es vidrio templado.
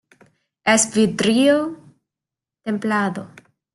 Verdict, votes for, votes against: accepted, 2, 1